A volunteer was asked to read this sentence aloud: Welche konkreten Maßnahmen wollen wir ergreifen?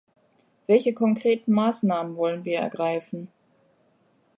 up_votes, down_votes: 2, 0